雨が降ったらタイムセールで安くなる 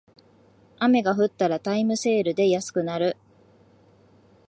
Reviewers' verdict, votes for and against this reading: accepted, 2, 0